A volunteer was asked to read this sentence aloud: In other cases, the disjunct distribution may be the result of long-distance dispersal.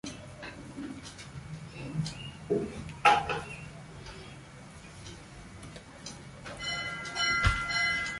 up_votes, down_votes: 0, 2